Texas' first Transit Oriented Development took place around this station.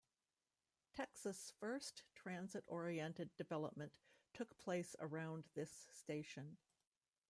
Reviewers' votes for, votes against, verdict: 1, 2, rejected